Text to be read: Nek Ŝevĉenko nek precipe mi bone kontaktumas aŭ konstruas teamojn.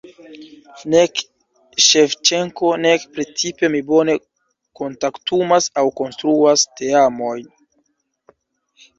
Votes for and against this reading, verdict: 2, 0, accepted